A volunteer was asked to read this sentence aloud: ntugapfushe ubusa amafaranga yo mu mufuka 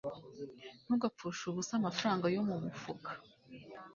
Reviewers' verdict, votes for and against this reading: accepted, 2, 0